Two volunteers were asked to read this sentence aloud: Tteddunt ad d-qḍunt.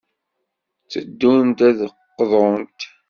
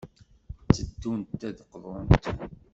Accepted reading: first